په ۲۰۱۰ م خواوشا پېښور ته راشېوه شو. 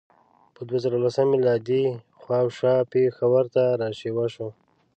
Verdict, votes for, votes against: rejected, 0, 2